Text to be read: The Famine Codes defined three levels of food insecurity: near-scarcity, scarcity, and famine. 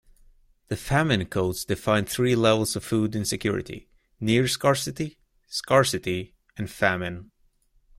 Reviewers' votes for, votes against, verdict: 2, 0, accepted